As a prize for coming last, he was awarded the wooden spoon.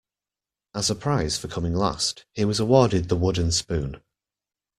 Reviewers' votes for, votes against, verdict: 2, 1, accepted